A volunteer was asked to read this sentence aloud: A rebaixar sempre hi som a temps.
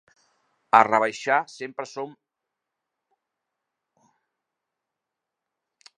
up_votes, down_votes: 0, 2